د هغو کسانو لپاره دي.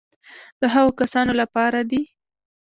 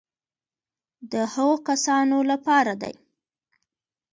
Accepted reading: second